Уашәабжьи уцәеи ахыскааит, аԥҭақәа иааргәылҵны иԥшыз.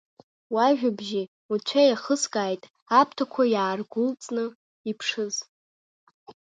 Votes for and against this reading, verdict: 0, 2, rejected